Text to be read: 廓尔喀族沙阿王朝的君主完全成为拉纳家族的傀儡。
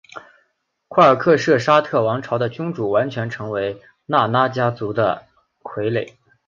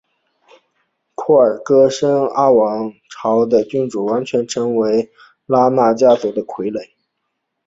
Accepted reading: first